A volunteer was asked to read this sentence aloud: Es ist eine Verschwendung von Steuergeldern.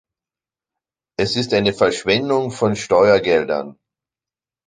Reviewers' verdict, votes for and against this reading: accepted, 2, 0